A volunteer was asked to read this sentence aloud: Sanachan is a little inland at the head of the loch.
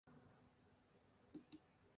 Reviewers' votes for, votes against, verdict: 0, 2, rejected